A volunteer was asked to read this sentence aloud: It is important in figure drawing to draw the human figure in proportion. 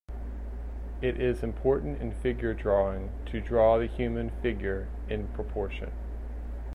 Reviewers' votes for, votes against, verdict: 2, 0, accepted